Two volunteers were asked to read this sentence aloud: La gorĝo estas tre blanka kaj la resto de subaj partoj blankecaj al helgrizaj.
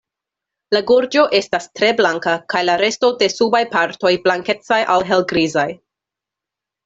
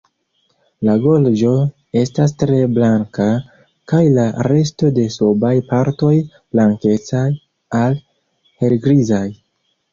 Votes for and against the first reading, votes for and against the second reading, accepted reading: 2, 0, 0, 2, first